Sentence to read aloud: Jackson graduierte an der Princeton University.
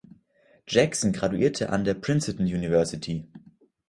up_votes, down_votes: 2, 1